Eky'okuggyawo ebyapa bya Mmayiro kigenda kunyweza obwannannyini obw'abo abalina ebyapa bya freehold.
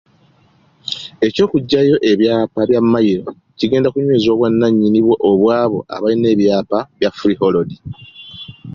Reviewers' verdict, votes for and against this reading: accepted, 2, 0